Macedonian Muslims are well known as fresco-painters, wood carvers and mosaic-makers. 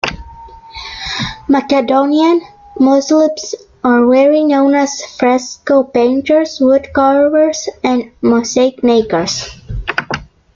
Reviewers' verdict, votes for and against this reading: rejected, 0, 2